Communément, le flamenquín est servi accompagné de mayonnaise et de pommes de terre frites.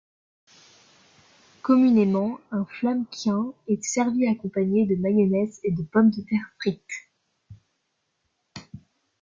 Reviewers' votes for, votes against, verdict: 0, 2, rejected